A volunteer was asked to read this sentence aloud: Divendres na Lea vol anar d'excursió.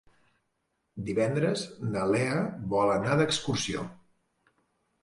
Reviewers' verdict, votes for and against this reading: accepted, 2, 0